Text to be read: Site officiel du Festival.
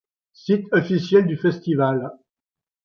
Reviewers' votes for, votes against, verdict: 2, 1, accepted